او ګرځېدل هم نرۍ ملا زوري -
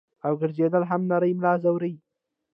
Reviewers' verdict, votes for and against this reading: rejected, 1, 2